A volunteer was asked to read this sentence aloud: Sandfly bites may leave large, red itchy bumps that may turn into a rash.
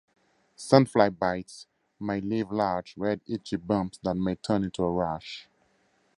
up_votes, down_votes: 2, 0